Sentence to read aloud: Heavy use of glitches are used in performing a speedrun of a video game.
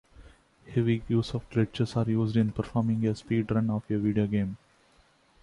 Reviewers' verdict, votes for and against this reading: accepted, 2, 0